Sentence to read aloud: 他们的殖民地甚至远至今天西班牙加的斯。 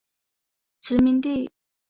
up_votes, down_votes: 0, 5